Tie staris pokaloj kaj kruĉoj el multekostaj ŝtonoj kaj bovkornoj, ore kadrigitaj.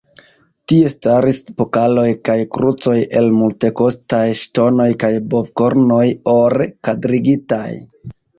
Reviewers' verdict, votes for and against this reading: rejected, 0, 2